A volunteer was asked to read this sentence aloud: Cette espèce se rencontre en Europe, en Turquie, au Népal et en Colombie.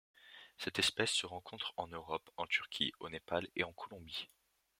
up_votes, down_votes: 2, 0